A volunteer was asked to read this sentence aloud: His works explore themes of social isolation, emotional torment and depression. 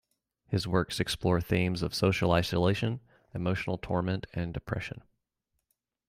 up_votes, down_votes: 2, 0